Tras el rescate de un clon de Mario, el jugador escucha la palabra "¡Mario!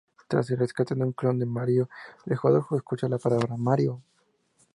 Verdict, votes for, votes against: rejected, 0, 2